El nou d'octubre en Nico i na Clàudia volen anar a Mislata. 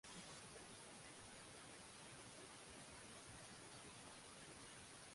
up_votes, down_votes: 0, 2